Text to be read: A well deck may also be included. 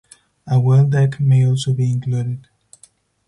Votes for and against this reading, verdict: 2, 4, rejected